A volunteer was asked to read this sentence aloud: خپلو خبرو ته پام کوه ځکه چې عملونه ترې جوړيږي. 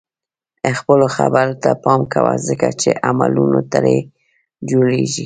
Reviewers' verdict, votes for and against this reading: rejected, 0, 2